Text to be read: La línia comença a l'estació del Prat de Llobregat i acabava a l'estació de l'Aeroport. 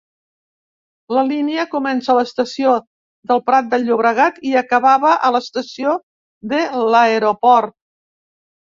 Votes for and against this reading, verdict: 2, 0, accepted